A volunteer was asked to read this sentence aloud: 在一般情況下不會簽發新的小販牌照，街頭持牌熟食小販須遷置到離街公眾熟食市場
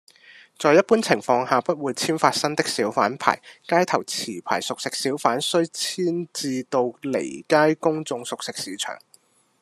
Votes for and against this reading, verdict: 1, 2, rejected